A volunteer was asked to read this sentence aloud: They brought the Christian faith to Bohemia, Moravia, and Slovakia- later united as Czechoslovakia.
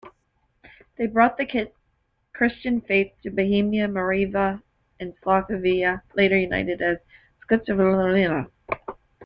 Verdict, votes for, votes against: rejected, 0, 2